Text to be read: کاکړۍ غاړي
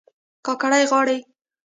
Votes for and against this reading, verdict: 1, 2, rejected